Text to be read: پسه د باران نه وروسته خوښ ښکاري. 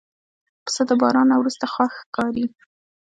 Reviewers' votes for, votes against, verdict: 2, 0, accepted